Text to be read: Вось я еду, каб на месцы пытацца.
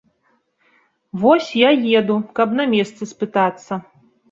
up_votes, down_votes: 0, 2